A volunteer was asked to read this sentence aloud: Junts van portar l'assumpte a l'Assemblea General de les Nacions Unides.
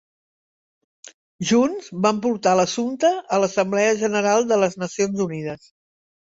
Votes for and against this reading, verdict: 3, 0, accepted